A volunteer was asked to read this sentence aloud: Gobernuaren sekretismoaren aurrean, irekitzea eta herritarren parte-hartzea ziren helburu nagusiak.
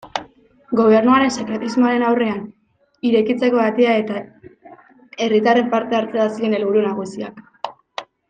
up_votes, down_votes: 0, 2